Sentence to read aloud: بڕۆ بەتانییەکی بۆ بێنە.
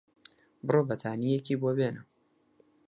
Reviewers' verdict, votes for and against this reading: accepted, 4, 0